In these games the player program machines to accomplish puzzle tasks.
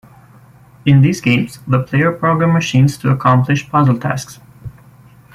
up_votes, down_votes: 2, 0